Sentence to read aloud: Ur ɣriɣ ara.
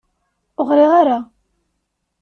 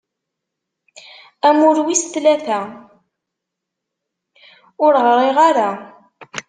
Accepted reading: first